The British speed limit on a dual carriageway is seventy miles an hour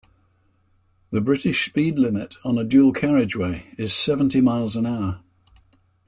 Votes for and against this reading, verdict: 2, 0, accepted